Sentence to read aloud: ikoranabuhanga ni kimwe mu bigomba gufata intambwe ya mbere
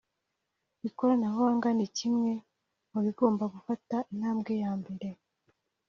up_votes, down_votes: 3, 0